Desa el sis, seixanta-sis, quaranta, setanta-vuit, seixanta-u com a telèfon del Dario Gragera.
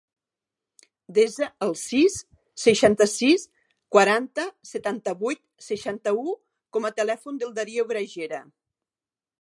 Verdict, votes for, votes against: accepted, 4, 0